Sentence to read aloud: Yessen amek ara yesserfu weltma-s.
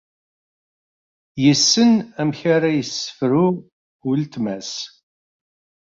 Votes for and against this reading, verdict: 0, 2, rejected